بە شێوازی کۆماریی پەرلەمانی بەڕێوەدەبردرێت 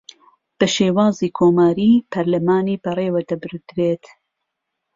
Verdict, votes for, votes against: accepted, 2, 0